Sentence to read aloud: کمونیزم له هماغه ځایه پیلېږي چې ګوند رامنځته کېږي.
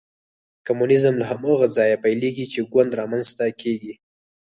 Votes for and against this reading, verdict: 4, 2, accepted